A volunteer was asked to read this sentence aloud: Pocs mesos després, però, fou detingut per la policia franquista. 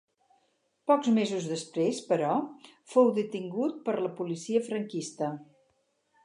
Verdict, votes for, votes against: accepted, 4, 0